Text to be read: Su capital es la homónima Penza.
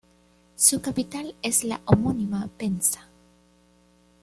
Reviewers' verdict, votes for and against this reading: accepted, 2, 0